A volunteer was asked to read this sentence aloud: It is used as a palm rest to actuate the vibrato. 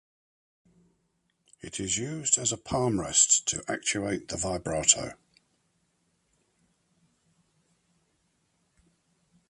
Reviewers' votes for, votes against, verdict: 2, 0, accepted